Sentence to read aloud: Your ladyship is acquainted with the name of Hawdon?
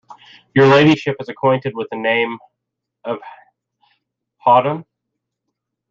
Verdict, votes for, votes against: rejected, 1, 2